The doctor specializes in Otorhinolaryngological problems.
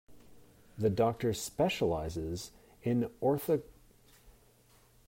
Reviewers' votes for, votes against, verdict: 0, 2, rejected